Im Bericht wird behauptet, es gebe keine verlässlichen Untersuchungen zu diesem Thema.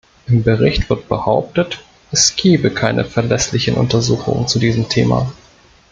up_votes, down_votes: 2, 0